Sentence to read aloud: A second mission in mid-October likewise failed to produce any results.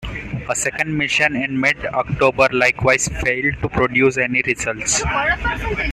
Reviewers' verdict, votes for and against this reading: accepted, 2, 0